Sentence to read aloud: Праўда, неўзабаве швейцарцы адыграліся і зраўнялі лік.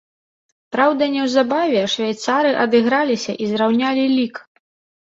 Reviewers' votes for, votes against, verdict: 0, 2, rejected